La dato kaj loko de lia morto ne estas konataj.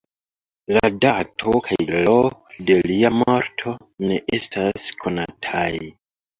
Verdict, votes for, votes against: rejected, 0, 2